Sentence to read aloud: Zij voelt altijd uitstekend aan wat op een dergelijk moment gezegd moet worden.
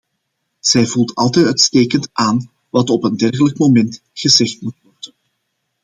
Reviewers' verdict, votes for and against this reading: rejected, 0, 2